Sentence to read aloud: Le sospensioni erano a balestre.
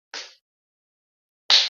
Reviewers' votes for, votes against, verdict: 0, 3, rejected